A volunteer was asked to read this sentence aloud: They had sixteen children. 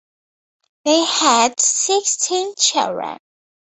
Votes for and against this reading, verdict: 2, 0, accepted